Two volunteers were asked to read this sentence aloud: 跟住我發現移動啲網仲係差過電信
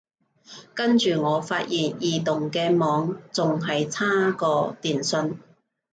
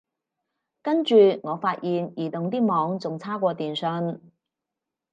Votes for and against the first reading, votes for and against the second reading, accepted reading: 0, 2, 4, 0, second